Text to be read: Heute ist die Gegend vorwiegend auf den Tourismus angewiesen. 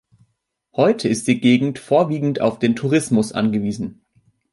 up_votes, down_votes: 2, 0